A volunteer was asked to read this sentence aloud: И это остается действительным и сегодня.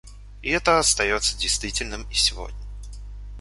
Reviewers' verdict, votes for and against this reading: accepted, 2, 1